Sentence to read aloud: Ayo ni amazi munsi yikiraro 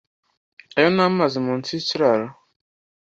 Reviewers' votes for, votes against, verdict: 2, 0, accepted